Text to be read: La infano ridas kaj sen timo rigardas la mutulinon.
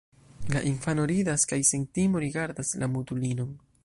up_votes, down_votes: 2, 0